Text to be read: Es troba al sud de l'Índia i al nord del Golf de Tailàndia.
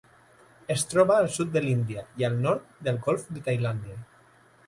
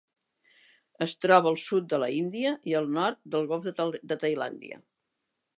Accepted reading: first